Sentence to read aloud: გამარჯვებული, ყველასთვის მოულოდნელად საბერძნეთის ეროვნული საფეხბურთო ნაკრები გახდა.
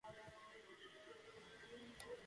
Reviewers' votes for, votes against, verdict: 6, 2, accepted